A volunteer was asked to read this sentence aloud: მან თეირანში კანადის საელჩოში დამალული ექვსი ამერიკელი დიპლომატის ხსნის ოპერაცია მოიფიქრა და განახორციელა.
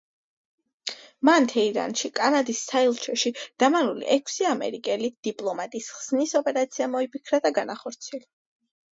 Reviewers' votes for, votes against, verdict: 2, 0, accepted